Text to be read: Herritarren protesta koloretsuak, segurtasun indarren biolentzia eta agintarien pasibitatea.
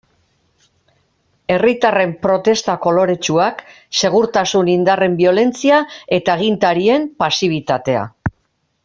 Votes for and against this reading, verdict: 2, 0, accepted